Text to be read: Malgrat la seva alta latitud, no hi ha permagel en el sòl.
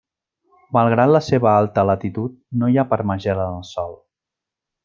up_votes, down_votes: 2, 0